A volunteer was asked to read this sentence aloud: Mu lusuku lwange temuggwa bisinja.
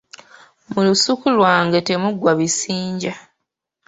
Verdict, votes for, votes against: accepted, 2, 0